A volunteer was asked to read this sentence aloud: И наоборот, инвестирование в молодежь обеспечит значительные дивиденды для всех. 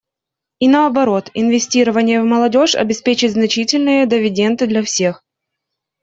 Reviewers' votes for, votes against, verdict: 2, 1, accepted